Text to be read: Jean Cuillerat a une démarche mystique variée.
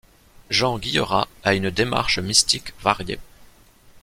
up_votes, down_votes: 0, 2